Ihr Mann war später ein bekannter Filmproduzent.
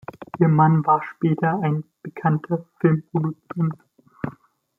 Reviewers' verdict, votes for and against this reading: accepted, 2, 0